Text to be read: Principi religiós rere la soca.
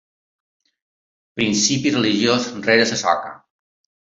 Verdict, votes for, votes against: rejected, 1, 2